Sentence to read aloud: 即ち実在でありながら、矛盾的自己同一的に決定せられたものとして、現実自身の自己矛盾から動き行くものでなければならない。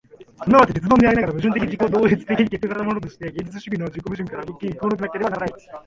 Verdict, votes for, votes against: rejected, 0, 2